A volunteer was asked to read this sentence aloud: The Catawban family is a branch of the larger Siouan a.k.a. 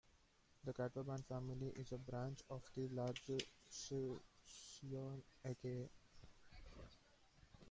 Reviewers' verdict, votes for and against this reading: rejected, 1, 2